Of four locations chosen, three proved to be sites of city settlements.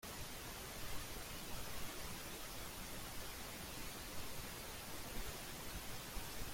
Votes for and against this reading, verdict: 0, 2, rejected